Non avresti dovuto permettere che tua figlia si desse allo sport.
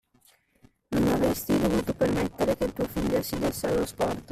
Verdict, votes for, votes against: rejected, 0, 2